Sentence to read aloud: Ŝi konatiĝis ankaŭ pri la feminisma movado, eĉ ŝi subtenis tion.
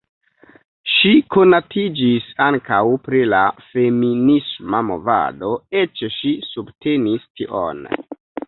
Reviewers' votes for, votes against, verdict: 0, 2, rejected